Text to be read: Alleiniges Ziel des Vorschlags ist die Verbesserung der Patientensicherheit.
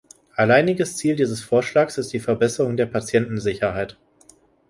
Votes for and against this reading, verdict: 0, 2, rejected